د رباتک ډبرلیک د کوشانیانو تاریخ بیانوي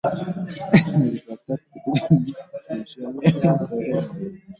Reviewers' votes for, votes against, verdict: 0, 2, rejected